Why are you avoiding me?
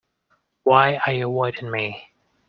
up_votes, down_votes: 1, 2